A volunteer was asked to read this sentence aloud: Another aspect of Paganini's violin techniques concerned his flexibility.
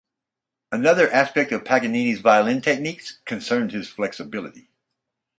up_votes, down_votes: 4, 0